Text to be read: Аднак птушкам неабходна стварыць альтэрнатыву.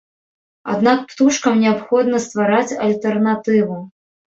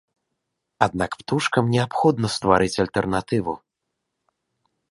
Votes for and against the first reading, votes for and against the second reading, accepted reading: 1, 2, 2, 0, second